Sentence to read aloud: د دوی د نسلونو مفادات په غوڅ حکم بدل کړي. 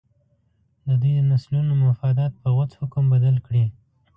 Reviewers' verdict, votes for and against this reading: rejected, 1, 2